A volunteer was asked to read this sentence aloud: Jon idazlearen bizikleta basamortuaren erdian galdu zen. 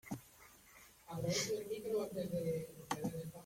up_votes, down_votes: 0, 2